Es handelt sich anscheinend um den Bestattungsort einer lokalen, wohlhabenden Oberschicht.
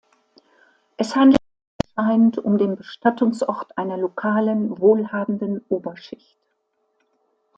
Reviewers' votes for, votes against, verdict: 0, 2, rejected